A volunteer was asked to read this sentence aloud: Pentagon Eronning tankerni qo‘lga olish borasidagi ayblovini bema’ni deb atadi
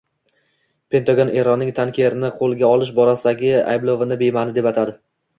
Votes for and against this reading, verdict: 2, 1, accepted